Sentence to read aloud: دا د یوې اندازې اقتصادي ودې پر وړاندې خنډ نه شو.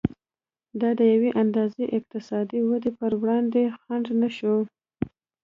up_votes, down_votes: 2, 0